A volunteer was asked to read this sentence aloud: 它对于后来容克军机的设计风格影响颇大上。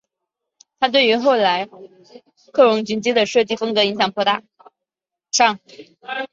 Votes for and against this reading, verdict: 0, 2, rejected